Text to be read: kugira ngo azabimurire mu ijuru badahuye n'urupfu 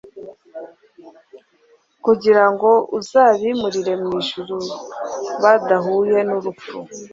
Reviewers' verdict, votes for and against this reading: accepted, 2, 0